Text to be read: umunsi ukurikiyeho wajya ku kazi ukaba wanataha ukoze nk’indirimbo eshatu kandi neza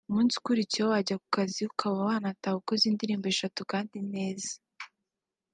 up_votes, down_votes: 2, 0